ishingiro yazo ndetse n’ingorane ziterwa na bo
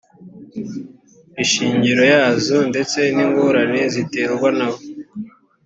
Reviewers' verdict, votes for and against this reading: accepted, 2, 0